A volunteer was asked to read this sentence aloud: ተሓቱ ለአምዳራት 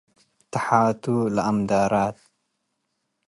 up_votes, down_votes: 2, 0